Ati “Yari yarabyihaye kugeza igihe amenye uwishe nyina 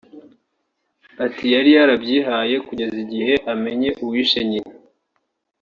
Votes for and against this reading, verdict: 3, 0, accepted